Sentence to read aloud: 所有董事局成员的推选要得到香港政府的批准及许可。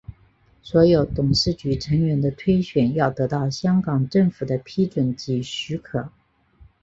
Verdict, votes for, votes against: accepted, 2, 0